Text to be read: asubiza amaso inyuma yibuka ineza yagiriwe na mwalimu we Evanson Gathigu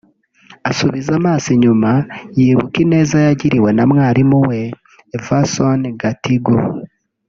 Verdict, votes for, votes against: rejected, 0, 2